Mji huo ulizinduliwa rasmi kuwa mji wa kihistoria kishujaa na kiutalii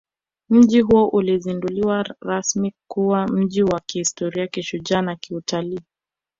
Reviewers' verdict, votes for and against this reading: rejected, 1, 2